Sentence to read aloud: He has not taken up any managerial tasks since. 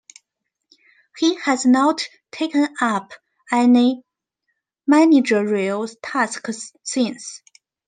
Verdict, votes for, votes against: accepted, 2, 0